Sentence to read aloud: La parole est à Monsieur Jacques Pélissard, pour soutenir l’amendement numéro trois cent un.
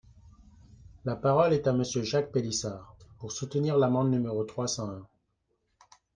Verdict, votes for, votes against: rejected, 0, 2